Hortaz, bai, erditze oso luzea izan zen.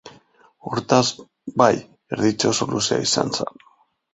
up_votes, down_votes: 2, 1